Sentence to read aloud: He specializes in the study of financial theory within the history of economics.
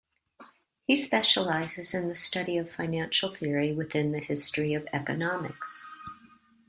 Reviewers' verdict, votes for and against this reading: accepted, 2, 1